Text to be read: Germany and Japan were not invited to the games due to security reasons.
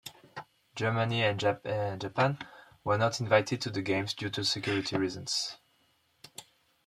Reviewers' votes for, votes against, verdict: 0, 2, rejected